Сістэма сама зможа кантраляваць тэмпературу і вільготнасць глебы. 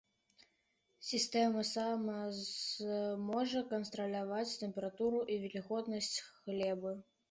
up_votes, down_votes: 2, 0